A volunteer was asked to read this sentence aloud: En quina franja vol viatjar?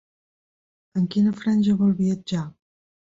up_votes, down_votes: 1, 2